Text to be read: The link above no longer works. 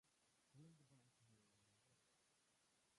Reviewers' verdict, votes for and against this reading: rejected, 0, 3